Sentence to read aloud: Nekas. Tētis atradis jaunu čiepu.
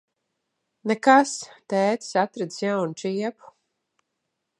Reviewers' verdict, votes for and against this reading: accepted, 3, 0